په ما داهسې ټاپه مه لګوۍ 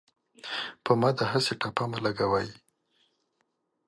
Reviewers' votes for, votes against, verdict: 2, 0, accepted